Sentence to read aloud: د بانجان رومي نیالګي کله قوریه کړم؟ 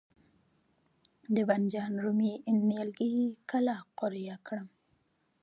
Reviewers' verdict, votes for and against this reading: accepted, 2, 1